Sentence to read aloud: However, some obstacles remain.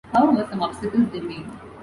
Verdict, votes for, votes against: rejected, 0, 2